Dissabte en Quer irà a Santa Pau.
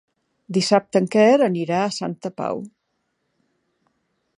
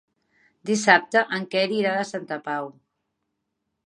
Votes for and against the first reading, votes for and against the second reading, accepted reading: 1, 3, 3, 0, second